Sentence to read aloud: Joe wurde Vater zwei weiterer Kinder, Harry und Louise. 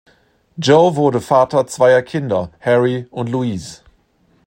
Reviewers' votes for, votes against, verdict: 0, 2, rejected